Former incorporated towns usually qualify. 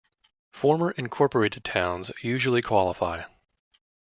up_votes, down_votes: 2, 0